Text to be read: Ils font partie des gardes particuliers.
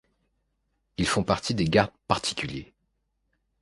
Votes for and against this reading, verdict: 2, 0, accepted